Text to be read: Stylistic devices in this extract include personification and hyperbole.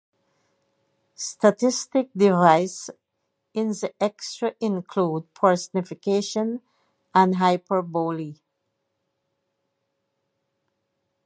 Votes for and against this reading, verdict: 0, 2, rejected